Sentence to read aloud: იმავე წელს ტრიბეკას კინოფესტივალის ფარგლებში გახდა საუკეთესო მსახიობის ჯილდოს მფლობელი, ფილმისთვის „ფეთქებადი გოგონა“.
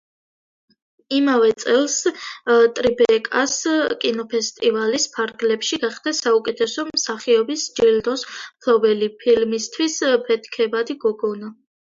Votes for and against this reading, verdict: 2, 0, accepted